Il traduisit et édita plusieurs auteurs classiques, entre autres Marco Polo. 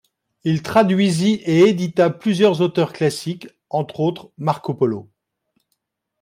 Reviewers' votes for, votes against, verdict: 2, 0, accepted